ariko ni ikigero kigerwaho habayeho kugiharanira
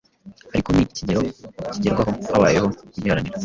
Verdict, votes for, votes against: rejected, 1, 2